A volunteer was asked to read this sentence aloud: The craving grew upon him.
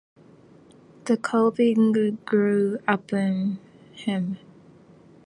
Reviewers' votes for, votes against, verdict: 1, 2, rejected